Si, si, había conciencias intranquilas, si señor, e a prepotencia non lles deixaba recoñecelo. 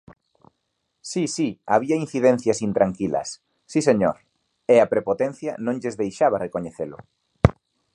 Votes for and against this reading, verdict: 0, 2, rejected